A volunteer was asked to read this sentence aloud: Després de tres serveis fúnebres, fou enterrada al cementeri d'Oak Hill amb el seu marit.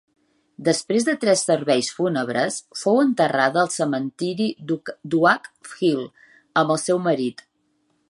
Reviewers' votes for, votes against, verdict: 0, 2, rejected